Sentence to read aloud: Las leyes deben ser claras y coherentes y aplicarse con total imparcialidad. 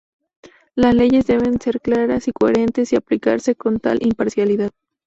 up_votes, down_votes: 0, 2